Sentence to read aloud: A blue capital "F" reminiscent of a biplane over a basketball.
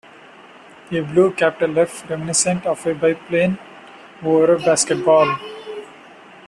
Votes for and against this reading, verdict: 2, 1, accepted